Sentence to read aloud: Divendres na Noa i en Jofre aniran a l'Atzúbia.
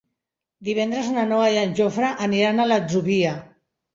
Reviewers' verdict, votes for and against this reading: accepted, 3, 0